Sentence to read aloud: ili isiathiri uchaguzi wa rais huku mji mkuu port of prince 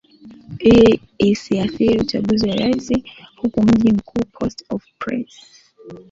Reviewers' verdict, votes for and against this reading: accepted, 2, 1